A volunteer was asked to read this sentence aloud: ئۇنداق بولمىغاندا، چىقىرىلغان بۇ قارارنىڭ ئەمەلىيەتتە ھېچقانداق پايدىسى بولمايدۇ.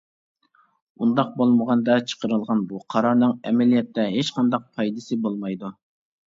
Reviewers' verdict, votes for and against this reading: accepted, 2, 0